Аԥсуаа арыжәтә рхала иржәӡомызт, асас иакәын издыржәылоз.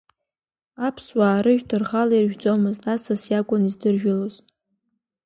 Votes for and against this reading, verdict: 2, 0, accepted